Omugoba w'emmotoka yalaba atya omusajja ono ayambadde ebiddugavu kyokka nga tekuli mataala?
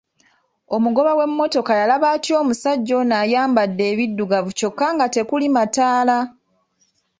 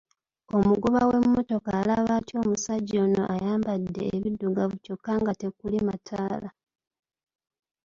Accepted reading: first